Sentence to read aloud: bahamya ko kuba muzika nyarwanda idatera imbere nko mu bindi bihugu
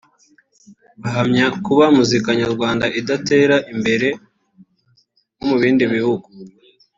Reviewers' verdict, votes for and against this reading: rejected, 0, 2